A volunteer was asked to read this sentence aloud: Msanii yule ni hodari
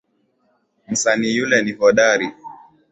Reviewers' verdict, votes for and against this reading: accepted, 2, 1